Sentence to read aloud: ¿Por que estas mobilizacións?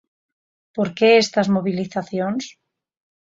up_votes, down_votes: 4, 0